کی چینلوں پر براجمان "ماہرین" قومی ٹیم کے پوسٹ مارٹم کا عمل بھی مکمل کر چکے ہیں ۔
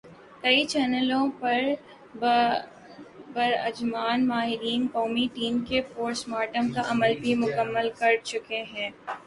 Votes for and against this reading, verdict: 3, 1, accepted